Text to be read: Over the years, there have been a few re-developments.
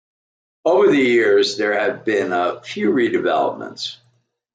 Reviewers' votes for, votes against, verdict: 2, 0, accepted